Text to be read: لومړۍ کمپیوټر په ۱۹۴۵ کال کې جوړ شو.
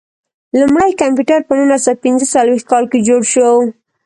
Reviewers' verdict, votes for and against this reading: rejected, 0, 2